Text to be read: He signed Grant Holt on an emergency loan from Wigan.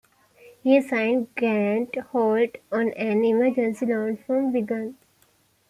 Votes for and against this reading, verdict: 2, 0, accepted